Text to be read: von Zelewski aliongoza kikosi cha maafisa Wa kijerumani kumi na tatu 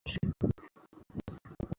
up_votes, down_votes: 0, 2